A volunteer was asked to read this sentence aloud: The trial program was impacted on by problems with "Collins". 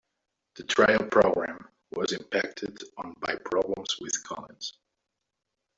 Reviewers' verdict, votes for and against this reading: rejected, 0, 2